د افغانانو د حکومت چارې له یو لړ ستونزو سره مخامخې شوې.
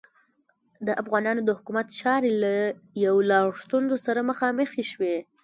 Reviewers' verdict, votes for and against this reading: accepted, 2, 1